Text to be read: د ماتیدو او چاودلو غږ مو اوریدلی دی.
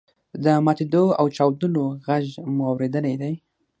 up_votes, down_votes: 6, 3